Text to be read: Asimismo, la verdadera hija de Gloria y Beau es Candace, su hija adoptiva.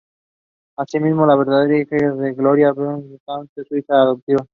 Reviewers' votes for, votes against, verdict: 2, 0, accepted